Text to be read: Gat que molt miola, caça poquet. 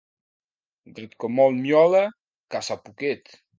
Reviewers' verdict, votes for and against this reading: rejected, 1, 2